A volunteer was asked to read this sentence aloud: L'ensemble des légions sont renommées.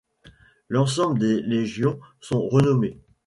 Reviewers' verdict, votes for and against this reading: accepted, 2, 0